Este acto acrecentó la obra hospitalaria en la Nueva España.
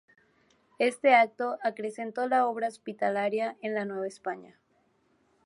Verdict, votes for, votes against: accepted, 6, 0